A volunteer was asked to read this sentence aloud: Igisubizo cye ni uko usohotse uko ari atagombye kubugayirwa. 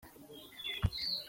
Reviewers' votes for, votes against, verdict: 0, 3, rejected